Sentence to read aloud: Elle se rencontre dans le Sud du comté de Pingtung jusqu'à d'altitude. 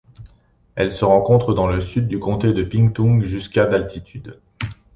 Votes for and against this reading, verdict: 2, 0, accepted